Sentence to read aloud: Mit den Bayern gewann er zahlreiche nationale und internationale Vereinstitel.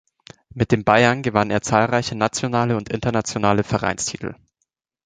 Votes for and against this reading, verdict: 2, 0, accepted